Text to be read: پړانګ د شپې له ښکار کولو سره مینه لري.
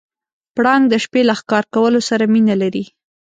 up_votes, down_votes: 2, 0